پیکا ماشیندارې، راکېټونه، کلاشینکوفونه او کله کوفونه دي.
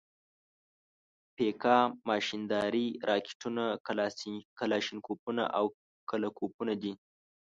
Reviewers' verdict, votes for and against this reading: rejected, 1, 2